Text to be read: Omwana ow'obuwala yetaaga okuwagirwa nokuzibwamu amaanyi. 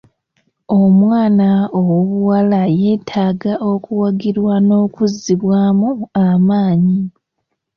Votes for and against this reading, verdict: 2, 0, accepted